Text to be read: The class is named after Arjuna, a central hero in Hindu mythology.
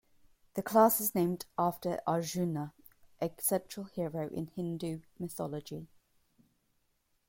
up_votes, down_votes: 2, 1